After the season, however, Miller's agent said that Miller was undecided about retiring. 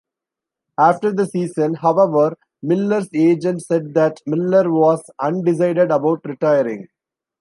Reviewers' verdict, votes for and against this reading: accepted, 2, 0